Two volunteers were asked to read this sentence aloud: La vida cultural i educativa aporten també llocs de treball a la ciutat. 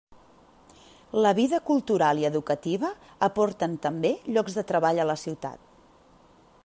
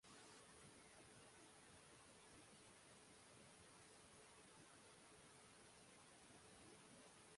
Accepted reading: first